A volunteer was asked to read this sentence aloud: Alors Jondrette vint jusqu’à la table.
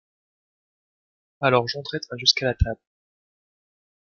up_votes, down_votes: 1, 2